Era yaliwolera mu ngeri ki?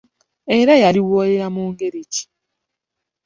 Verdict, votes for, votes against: rejected, 1, 2